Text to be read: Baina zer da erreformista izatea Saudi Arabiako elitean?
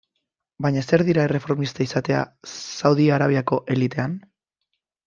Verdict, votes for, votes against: rejected, 1, 2